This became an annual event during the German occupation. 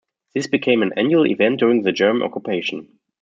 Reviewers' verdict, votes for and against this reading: rejected, 1, 2